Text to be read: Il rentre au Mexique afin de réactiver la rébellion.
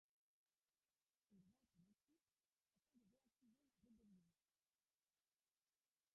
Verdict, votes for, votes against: rejected, 0, 2